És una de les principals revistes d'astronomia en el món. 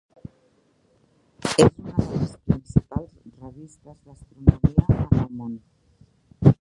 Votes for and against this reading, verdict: 0, 2, rejected